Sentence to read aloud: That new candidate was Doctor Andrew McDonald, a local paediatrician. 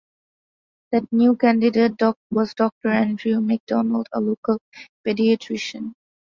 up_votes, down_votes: 2, 1